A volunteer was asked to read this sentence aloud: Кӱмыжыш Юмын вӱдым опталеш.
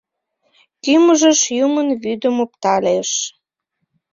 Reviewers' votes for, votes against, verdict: 0, 2, rejected